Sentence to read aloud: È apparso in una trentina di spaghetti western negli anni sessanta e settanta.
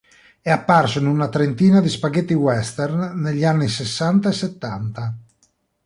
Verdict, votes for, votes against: accepted, 2, 0